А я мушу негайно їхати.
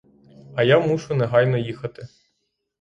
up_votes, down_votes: 6, 0